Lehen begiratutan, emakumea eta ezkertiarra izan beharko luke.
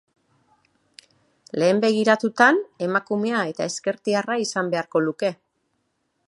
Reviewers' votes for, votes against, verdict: 6, 0, accepted